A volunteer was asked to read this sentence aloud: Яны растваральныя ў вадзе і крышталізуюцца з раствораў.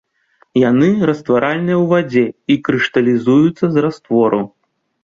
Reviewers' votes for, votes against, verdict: 2, 0, accepted